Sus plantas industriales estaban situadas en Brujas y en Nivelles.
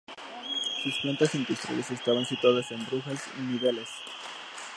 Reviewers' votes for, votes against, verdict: 1, 2, rejected